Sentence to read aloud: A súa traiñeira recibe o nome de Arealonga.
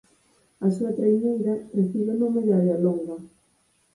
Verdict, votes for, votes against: rejected, 0, 4